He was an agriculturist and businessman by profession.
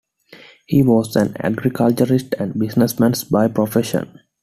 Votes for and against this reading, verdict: 0, 2, rejected